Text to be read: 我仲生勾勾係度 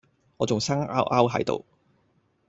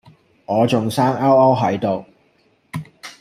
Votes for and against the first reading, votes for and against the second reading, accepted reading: 1, 2, 2, 0, second